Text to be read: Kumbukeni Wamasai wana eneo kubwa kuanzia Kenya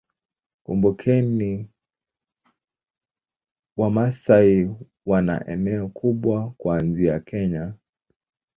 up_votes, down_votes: 0, 2